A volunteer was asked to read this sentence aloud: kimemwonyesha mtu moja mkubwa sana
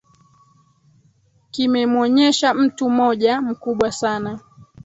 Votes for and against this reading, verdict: 0, 2, rejected